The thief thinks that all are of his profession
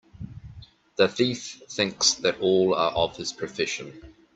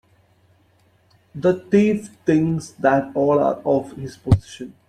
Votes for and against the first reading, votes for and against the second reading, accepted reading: 2, 0, 0, 2, first